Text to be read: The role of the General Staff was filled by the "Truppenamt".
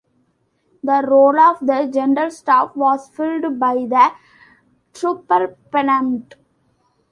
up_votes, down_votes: 1, 2